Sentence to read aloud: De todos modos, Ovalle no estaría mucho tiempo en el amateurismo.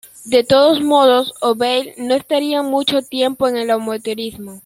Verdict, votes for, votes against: rejected, 1, 2